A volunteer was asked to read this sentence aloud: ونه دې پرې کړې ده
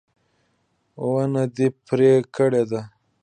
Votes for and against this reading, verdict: 2, 0, accepted